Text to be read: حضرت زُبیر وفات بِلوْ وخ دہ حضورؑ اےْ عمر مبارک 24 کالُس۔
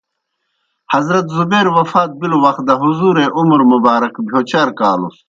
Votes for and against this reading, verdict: 0, 2, rejected